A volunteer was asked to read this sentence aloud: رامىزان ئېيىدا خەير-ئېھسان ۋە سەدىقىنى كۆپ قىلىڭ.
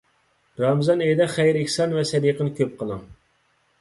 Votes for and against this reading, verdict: 2, 0, accepted